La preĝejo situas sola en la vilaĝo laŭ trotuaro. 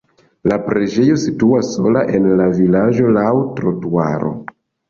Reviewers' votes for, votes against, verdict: 2, 0, accepted